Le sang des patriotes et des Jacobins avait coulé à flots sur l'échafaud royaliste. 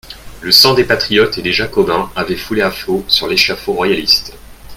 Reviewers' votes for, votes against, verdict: 1, 2, rejected